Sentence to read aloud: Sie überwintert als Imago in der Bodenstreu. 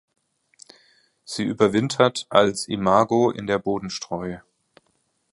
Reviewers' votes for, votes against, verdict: 2, 0, accepted